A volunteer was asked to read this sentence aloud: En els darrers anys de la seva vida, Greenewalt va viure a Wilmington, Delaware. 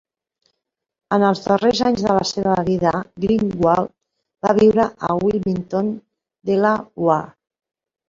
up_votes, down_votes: 0, 3